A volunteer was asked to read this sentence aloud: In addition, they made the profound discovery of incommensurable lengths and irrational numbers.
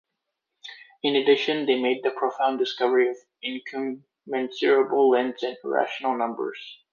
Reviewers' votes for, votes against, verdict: 1, 2, rejected